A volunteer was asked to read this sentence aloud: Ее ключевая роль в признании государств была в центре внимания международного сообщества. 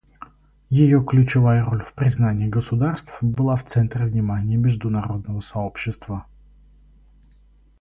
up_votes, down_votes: 0, 2